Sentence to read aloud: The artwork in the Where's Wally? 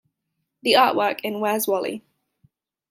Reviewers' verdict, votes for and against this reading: rejected, 0, 2